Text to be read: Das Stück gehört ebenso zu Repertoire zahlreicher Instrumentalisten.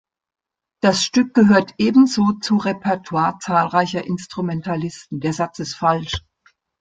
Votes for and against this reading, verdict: 0, 2, rejected